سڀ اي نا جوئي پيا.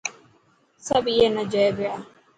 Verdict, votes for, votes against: accepted, 4, 0